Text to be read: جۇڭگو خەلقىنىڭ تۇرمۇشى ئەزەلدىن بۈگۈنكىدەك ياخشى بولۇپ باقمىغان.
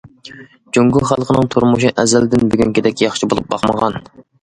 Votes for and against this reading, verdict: 2, 0, accepted